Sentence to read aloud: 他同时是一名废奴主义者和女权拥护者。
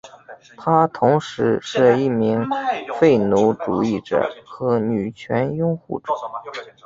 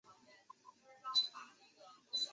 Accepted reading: first